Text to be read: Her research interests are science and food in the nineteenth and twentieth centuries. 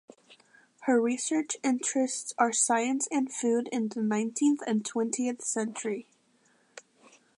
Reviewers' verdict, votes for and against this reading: rejected, 1, 2